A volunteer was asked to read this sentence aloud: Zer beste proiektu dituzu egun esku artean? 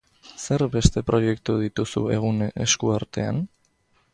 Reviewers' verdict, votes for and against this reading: accepted, 3, 0